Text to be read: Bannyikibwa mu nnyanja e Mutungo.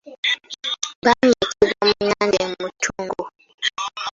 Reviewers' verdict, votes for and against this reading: accepted, 2, 1